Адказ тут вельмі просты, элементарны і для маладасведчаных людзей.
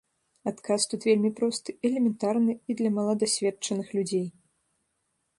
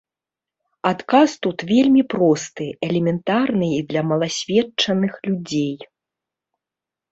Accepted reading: first